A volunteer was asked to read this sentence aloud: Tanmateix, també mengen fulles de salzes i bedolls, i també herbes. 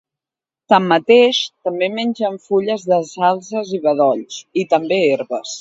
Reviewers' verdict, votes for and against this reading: accepted, 2, 0